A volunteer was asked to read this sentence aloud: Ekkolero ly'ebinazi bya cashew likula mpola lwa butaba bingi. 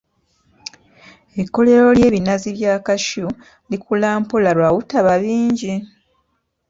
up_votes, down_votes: 2, 0